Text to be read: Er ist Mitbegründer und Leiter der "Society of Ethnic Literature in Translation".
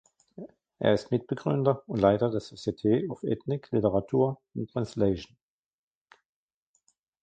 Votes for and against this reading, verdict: 0, 2, rejected